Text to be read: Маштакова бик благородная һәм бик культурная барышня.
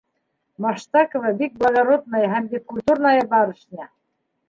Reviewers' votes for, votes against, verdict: 1, 2, rejected